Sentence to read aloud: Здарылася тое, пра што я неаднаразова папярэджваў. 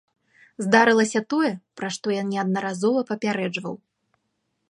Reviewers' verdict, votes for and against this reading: accepted, 2, 0